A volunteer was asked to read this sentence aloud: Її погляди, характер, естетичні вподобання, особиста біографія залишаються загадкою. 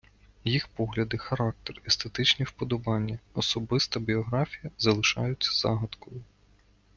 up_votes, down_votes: 0, 2